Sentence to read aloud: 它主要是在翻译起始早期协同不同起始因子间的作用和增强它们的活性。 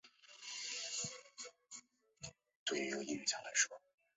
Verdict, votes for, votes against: rejected, 0, 5